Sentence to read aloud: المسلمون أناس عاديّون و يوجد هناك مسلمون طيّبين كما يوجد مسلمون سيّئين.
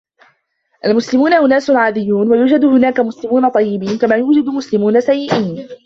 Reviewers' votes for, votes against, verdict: 1, 2, rejected